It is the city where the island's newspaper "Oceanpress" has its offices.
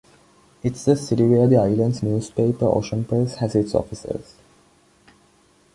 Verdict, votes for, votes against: rejected, 1, 2